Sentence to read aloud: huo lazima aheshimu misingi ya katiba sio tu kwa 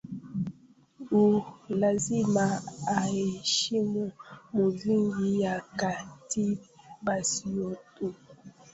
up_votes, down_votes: 0, 2